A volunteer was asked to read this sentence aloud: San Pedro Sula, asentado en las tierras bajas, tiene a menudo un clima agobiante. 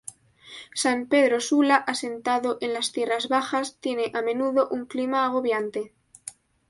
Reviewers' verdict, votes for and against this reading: accepted, 2, 0